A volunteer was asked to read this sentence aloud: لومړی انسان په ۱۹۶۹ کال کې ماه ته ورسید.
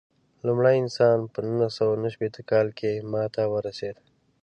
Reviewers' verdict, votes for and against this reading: rejected, 0, 2